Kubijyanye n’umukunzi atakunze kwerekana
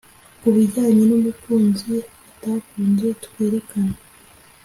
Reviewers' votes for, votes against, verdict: 2, 0, accepted